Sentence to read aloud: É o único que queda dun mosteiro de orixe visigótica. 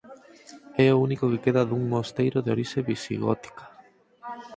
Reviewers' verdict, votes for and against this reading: rejected, 2, 4